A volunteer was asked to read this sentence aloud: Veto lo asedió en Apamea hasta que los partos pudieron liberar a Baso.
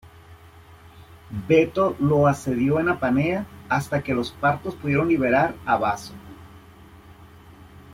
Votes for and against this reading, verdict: 2, 0, accepted